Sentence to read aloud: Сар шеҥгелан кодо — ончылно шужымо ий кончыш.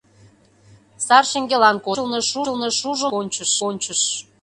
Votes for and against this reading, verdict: 0, 2, rejected